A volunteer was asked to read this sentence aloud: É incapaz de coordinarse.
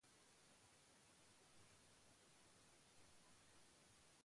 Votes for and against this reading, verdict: 0, 2, rejected